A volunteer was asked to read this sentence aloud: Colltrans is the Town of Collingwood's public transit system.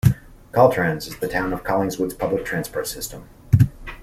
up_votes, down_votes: 0, 2